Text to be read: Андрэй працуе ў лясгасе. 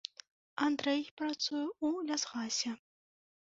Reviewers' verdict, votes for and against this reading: rejected, 1, 2